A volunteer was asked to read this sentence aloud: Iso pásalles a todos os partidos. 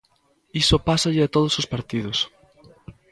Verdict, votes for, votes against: rejected, 0, 2